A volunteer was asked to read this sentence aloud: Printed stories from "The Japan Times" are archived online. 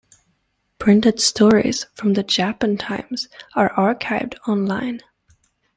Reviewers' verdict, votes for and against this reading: accepted, 2, 1